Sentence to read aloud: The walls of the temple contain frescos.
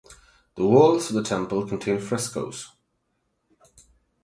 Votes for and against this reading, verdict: 8, 0, accepted